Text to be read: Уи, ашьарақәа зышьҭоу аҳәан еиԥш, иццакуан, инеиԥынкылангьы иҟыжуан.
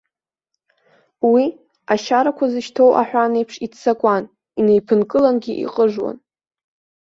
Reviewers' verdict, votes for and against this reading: accepted, 2, 1